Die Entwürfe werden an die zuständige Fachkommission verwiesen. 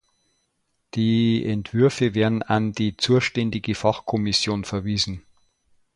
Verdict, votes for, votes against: rejected, 1, 2